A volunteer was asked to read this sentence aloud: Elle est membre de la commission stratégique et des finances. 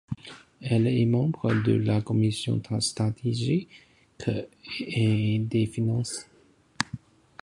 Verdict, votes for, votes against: rejected, 0, 2